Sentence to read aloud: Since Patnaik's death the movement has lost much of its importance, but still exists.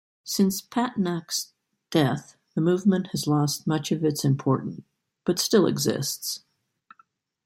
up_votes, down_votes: 2, 1